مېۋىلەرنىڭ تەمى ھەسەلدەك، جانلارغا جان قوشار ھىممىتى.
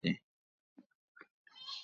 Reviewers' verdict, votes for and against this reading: rejected, 0, 2